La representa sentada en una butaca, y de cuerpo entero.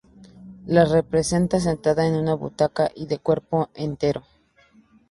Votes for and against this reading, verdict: 0, 2, rejected